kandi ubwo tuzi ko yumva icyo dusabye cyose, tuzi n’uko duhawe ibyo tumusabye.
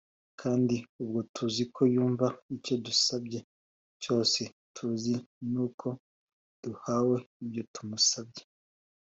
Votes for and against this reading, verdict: 2, 0, accepted